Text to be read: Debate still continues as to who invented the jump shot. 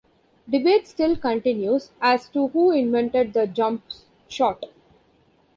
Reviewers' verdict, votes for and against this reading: rejected, 1, 2